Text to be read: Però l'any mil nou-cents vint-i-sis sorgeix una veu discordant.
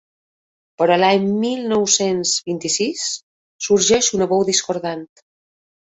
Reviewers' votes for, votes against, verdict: 3, 0, accepted